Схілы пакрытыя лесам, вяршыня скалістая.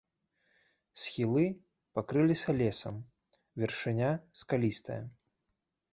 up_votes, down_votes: 0, 2